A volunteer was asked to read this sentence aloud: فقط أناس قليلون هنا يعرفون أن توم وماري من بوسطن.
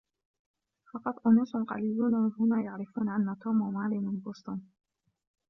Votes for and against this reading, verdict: 1, 2, rejected